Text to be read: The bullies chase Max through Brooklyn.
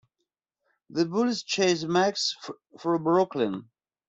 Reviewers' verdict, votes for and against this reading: accepted, 2, 1